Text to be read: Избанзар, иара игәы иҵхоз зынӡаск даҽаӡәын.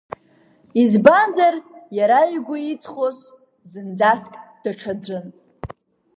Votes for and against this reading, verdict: 1, 2, rejected